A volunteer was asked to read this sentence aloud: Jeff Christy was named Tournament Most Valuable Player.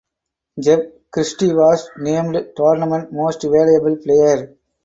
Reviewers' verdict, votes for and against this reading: accepted, 4, 2